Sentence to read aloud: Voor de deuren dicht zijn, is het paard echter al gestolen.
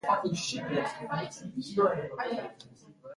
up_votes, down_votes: 0, 2